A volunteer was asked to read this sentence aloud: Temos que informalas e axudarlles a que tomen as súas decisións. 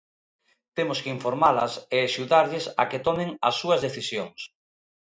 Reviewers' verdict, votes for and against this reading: accepted, 2, 0